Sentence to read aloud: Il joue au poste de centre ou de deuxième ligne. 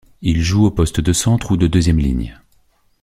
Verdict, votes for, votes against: accepted, 2, 0